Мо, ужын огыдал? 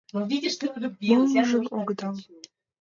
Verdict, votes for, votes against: rejected, 0, 2